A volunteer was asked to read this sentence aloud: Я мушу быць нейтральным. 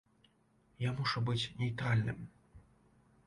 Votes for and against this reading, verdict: 2, 0, accepted